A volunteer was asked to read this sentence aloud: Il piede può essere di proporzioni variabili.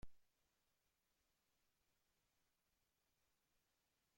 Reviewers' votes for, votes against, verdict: 0, 2, rejected